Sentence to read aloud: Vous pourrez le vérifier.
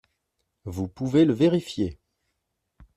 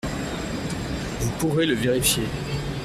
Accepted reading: second